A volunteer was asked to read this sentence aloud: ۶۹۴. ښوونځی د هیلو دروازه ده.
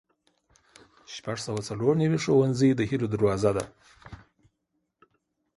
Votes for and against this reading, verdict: 0, 2, rejected